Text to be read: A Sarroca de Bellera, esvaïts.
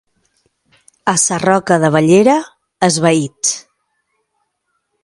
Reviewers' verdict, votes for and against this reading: accepted, 2, 0